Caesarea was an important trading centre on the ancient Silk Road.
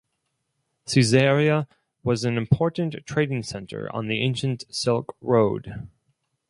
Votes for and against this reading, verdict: 4, 0, accepted